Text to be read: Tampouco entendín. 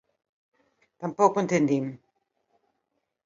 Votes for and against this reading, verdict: 2, 0, accepted